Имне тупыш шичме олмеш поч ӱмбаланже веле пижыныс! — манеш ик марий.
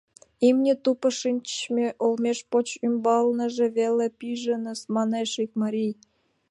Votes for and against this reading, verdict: 1, 2, rejected